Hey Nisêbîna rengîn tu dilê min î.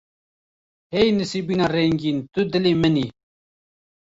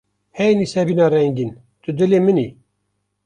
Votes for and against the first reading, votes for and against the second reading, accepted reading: 0, 2, 2, 0, second